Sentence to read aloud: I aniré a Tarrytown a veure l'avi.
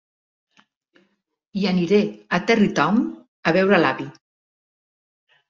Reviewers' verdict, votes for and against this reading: accepted, 2, 1